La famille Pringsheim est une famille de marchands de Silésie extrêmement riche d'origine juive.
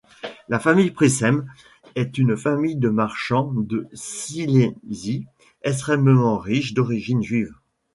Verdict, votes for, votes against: rejected, 0, 2